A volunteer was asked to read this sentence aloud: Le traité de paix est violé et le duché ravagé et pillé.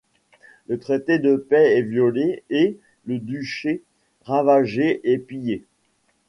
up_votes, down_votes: 1, 2